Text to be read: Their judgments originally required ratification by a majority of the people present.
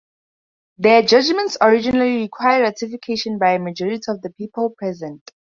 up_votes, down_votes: 2, 0